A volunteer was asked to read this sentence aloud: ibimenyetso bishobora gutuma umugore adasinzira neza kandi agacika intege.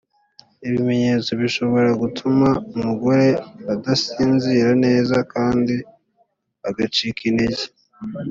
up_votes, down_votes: 3, 0